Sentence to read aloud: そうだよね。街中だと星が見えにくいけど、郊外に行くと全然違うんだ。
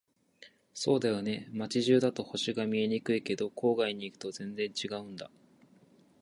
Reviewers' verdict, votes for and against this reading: accepted, 2, 0